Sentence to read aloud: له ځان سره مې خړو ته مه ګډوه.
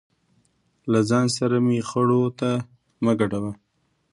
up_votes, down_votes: 2, 0